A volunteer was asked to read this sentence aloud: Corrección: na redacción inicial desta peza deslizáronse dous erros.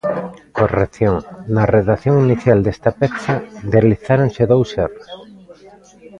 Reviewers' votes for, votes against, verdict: 2, 0, accepted